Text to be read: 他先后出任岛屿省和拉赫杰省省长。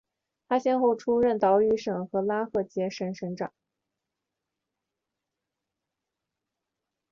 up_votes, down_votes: 4, 1